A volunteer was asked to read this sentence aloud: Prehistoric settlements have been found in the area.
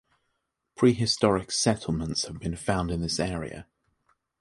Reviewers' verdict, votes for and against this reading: rejected, 1, 3